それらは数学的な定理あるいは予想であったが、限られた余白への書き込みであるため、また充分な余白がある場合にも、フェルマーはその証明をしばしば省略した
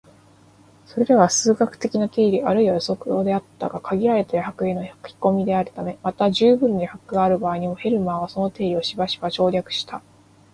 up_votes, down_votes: 0, 2